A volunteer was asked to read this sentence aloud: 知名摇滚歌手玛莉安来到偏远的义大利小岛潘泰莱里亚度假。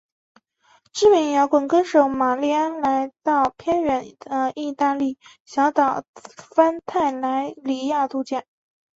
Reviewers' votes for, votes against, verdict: 3, 0, accepted